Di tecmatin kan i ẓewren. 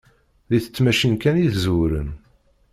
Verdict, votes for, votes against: rejected, 0, 2